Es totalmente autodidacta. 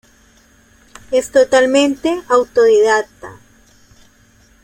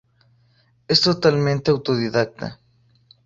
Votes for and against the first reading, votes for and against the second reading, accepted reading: 0, 3, 4, 0, second